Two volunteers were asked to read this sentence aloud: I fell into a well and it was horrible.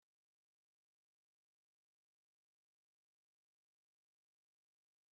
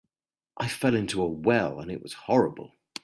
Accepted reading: second